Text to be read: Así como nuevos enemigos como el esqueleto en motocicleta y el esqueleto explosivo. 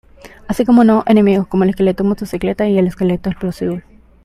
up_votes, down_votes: 0, 2